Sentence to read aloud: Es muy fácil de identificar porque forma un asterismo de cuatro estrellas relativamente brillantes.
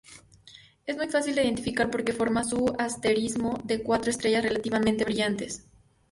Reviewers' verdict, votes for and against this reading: rejected, 0, 2